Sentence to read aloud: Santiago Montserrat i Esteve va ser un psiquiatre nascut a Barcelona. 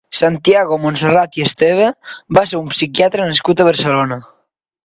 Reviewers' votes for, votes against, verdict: 2, 0, accepted